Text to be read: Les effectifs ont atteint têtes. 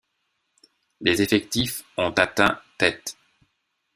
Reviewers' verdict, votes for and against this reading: accepted, 2, 0